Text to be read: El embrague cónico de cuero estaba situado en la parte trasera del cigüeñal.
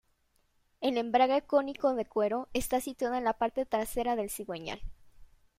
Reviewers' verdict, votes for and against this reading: rejected, 1, 2